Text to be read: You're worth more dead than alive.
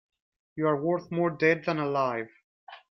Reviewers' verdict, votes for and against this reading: accepted, 2, 0